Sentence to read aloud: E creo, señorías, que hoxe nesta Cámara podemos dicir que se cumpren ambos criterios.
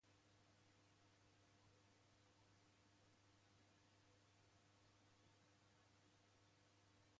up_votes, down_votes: 0, 2